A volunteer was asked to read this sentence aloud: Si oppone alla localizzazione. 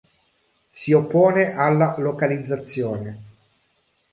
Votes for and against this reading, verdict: 2, 0, accepted